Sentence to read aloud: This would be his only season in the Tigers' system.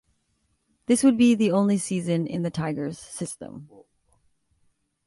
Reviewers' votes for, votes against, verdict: 1, 2, rejected